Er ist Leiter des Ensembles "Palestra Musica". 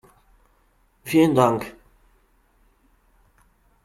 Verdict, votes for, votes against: rejected, 0, 2